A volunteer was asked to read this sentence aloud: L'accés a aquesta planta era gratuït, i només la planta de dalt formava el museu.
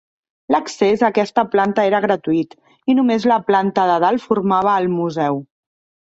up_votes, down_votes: 1, 2